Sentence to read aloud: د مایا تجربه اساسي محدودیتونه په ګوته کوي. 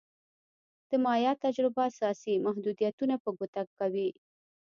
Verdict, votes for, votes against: accepted, 2, 0